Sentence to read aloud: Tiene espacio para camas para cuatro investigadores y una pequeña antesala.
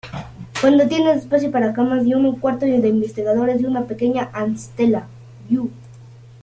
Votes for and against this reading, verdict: 1, 2, rejected